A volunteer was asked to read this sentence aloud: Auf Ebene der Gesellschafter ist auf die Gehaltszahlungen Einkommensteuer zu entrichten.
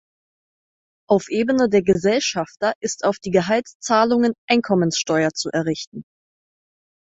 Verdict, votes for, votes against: rejected, 2, 4